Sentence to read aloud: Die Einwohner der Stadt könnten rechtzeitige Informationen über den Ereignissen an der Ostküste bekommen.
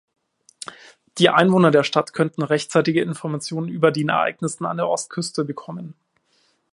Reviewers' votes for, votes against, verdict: 1, 2, rejected